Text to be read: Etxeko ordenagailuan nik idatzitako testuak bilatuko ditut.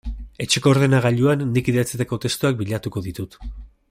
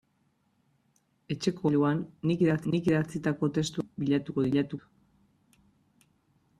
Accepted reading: first